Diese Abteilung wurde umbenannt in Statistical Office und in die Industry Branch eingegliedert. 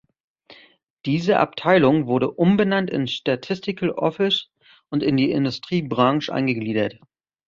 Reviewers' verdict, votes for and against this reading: rejected, 1, 2